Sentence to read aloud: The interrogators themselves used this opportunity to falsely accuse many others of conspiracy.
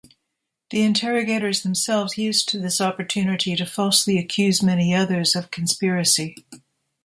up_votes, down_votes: 1, 2